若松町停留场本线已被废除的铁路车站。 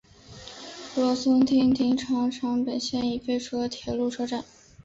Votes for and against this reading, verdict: 0, 2, rejected